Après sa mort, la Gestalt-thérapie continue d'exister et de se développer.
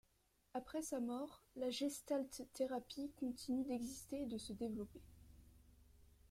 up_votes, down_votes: 2, 0